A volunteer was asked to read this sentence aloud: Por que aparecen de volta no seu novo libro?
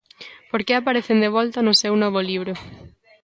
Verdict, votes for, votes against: accepted, 2, 0